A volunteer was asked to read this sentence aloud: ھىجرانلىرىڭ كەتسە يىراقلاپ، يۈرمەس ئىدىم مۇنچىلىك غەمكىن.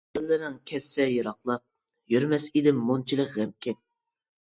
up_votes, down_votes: 0, 2